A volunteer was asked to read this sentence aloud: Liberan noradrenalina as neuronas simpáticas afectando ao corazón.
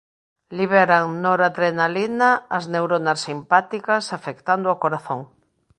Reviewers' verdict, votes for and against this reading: accepted, 2, 0